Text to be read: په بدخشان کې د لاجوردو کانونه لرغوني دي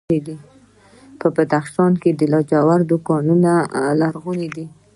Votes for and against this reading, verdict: 2, 0, accepted